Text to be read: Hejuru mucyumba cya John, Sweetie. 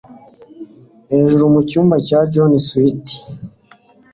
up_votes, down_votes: 2, 1